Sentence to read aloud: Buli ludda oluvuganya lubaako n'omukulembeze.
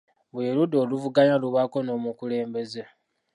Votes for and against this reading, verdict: 2, 1, accepted